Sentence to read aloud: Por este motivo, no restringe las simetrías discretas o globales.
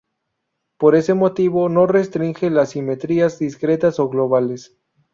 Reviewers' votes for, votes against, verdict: 0, 2, rejected